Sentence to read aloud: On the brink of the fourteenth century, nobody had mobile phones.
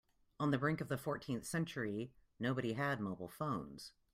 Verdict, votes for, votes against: accepted, 2, 0